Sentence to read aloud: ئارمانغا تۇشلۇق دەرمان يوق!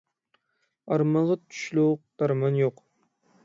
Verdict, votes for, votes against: rejected, 3, 6